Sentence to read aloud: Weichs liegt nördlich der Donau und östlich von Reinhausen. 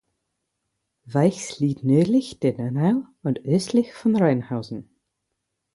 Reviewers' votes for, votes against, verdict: 4, 0, accepted